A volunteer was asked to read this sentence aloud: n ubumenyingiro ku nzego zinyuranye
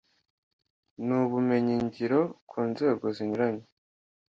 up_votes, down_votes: 2, 0